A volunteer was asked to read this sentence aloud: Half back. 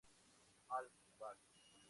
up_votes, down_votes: 2, 2